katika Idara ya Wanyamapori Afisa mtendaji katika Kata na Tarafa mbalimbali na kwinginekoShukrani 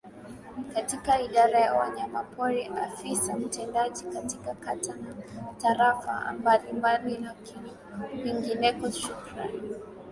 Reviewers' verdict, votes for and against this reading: accepted, 2, 0